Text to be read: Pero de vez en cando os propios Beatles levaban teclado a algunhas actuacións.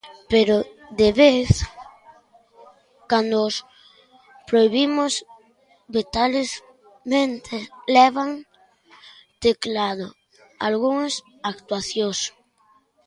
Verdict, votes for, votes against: rejected, 0, 2